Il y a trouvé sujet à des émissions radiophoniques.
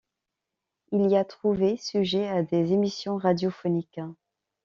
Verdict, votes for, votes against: accepted, 2, 0